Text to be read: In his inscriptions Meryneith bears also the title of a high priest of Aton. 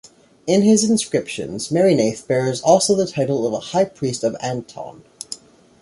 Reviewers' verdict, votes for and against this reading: rejected, 1, 2